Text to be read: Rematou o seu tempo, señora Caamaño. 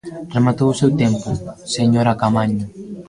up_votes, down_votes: 0, 2